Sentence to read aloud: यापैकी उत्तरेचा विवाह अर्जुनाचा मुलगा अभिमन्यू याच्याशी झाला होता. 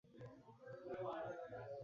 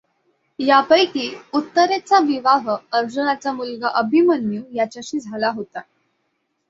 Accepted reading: second